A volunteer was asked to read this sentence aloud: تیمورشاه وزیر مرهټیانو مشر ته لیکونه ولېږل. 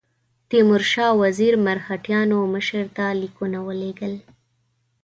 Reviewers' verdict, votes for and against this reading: accepted, 2, 0